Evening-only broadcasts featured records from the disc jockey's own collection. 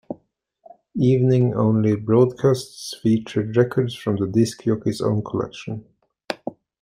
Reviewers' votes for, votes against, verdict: 2, 0, accepted